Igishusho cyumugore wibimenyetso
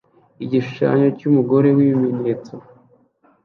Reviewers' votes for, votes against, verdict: 0, 2, rejected